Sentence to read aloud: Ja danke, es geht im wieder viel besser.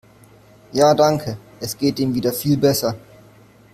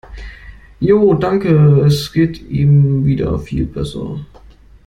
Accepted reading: first